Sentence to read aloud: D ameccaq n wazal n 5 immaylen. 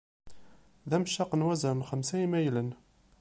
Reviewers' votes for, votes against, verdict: 0, 2, rejected